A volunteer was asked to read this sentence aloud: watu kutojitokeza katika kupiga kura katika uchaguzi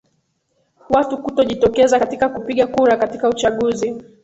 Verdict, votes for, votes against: accepted, 2, 1